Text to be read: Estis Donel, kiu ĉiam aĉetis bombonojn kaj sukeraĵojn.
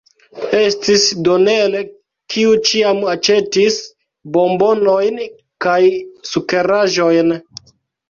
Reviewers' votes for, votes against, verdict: 2, 1, accepted